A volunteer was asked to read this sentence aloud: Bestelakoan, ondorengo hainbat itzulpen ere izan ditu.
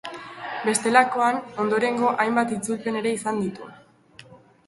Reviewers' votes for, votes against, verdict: 2, 1, accepted